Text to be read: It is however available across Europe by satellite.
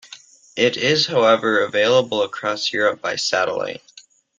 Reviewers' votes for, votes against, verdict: 2, 0, accepted